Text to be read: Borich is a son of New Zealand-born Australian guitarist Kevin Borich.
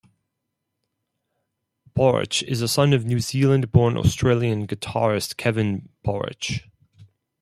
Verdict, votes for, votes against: accepted, 4, 0